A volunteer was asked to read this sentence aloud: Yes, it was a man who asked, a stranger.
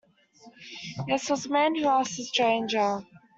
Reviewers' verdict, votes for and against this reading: rejected, 1, 2